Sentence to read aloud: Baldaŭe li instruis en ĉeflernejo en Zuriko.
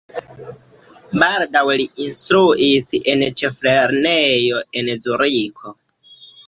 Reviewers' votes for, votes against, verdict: 0, 2, rejected